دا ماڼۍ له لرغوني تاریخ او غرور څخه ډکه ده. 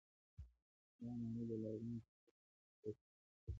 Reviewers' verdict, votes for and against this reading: rejected, 0, 2